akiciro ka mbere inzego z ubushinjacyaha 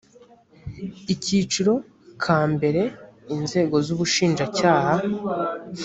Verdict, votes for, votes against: rejected, 1, 2